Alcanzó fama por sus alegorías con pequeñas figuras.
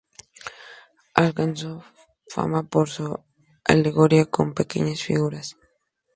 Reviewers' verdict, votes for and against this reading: accepted, 2, 0